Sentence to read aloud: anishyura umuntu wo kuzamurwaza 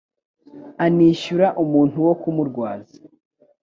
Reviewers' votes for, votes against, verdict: 1, 2, rejected